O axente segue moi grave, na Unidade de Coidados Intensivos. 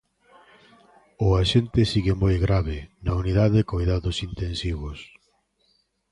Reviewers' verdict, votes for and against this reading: rejected, 1, 2